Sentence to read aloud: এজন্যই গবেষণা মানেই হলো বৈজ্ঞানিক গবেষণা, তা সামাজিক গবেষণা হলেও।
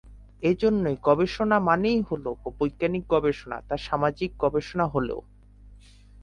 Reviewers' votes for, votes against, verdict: 10, 2, accepted